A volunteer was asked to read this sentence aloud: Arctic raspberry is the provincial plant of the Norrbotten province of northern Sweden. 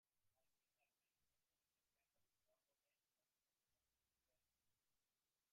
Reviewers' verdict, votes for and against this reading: rejected, 0, 2